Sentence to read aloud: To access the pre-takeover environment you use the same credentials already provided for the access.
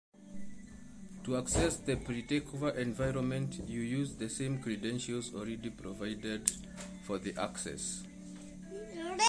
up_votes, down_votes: 1, 2